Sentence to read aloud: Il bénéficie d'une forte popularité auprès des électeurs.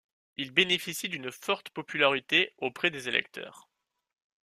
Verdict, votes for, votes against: accepted, 2, 0